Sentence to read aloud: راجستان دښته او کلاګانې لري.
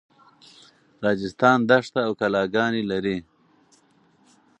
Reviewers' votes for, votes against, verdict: 2, 0, accepted